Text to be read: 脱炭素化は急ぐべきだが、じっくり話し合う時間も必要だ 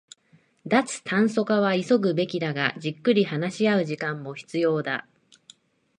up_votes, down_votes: 2, 0